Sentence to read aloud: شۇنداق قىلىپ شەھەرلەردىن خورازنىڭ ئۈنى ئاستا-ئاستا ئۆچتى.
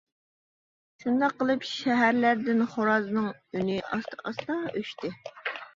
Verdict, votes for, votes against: accepted, 2, 0